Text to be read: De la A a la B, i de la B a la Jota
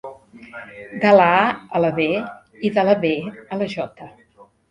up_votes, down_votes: 0, 2